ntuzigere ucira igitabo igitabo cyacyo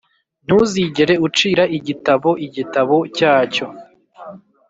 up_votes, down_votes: 2, 0